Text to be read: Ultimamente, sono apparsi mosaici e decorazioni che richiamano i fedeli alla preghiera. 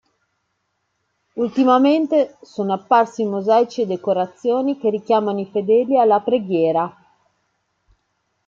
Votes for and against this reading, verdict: 2, 0, accepted